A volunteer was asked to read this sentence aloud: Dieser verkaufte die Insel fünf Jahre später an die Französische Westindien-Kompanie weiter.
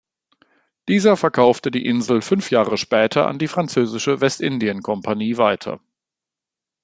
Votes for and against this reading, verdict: 2, 0, accepted